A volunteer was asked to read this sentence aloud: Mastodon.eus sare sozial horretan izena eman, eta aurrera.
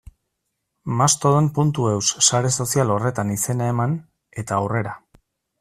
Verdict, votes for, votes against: accepted, 2, 0